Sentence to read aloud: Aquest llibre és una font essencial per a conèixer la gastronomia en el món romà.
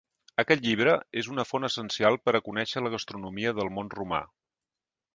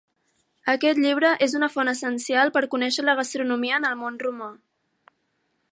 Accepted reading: second